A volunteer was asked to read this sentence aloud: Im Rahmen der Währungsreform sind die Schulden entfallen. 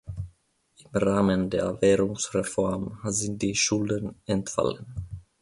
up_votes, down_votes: 2, 3